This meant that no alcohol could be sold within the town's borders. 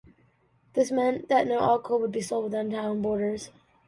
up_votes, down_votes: 0, 2